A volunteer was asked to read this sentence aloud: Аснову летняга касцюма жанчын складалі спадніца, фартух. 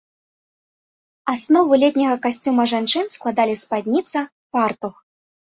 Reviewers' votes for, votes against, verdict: 2, 0, accepted